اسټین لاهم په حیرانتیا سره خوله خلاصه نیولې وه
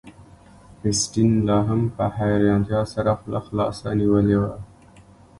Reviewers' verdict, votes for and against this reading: rejected, 1, 2